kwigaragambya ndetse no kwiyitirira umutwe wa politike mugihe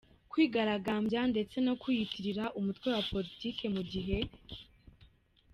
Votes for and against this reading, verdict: 0, 2, rejected